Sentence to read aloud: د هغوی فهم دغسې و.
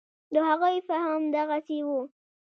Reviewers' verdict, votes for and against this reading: rejected, 1, 2